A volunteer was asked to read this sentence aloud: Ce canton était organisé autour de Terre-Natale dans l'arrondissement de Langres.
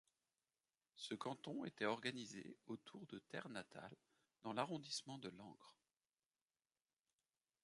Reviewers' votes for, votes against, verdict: 2, 0, accepted